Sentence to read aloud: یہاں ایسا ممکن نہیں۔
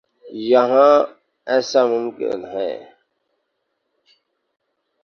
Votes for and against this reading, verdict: 0, 2, rejected